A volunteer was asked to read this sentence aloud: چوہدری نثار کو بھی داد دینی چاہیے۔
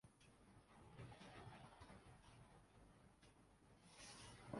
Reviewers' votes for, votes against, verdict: 0, 2, rejected